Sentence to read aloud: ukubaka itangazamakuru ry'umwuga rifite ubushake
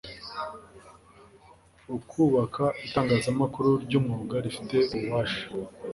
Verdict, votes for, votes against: rejected, 0, 2